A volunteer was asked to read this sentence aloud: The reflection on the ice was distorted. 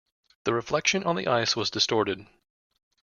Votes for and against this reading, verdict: 2, 0, accepted